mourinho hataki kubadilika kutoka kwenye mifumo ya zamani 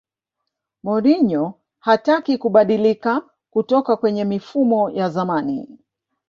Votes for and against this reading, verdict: 0, 2, rejected